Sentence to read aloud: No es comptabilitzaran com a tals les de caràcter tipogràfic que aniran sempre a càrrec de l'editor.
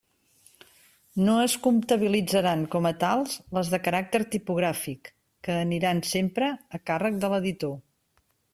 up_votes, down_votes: 3, 1